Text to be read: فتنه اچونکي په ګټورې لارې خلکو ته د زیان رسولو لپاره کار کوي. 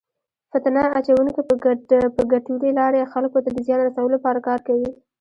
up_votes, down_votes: 0, 2